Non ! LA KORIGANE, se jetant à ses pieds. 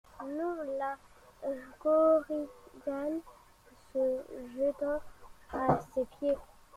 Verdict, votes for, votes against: rejected, 1, 2